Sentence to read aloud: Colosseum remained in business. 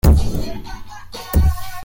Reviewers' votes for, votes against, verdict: 0, 2, rejected